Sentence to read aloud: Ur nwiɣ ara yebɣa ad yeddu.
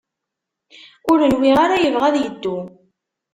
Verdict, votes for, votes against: accepted, 2, 0